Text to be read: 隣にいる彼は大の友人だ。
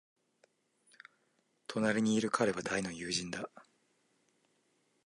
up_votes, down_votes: 2, 0